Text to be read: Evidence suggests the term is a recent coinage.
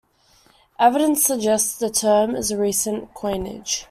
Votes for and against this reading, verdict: 2, 0, accepted